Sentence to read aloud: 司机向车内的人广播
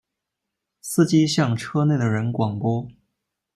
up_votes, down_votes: 2, 1